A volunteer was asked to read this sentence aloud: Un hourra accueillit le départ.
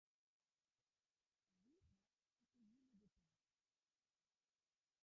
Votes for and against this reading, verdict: 0, 2, rejected